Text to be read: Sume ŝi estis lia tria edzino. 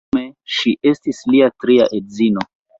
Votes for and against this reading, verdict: 0, 2, rejected